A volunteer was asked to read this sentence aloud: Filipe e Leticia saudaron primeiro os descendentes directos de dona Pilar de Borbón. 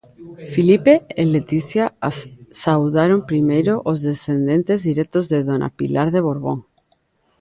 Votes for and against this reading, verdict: 0, 2, rejected